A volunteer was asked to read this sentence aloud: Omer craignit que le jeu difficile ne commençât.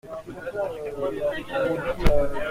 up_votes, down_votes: 0, 2